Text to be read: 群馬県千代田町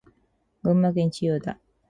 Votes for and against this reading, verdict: 2, 2, rejected